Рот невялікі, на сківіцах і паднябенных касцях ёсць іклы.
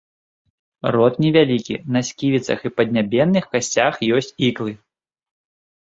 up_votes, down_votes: 2, 0